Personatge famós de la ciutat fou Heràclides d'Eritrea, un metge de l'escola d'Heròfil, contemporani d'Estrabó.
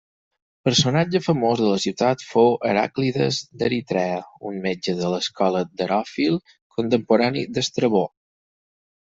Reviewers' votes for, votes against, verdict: 4, 0, accepted